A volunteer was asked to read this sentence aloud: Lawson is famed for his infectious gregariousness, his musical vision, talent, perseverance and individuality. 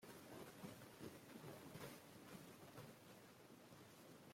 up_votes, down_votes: 0, 2